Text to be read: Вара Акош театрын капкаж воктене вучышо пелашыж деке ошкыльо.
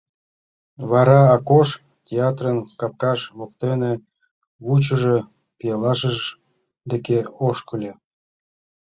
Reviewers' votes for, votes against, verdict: 2, 1, accepted